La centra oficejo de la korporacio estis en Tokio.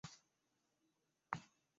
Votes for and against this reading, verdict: 1, 2, rejected